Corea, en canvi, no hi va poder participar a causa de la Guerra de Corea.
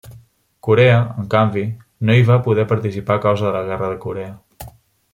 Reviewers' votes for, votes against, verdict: 3, 0, accepted